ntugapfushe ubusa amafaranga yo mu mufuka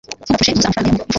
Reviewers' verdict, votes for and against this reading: rejected, 0, 2